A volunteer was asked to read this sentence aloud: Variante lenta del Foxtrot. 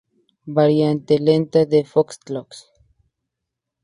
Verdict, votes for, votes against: accepted, 2, 0